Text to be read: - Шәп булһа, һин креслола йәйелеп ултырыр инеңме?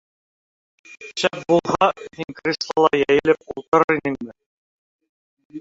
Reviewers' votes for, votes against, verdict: 0, 3, rejected